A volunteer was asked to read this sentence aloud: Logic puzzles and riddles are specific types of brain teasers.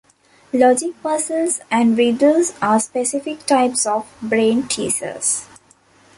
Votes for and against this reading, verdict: 2, 0, accepted